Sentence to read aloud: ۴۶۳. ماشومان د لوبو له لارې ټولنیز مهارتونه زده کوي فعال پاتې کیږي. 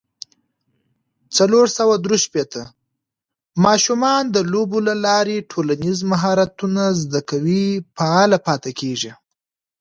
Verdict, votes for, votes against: rejected, 0, 2